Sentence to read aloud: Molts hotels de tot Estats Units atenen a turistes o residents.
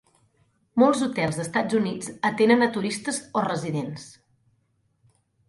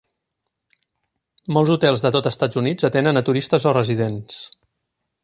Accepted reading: second